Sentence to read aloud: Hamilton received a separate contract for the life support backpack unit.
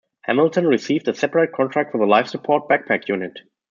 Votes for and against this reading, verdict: 2, 0, accepted